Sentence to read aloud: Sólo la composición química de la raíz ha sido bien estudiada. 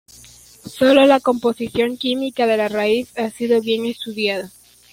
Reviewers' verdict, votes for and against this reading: accepted, 2, 1